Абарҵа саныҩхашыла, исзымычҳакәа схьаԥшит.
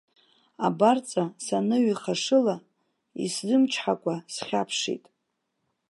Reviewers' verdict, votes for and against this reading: rejected, 1, 2